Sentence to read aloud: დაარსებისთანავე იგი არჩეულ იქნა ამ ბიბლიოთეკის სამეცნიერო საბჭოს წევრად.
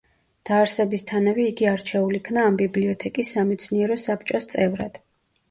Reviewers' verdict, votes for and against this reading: accepted, 2, 0